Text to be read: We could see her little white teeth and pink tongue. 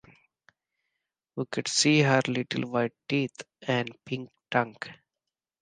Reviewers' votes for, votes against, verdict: 2, 0, accepted